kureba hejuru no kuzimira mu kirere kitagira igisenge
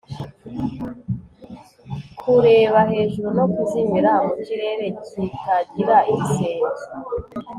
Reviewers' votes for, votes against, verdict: 1, 2, rejected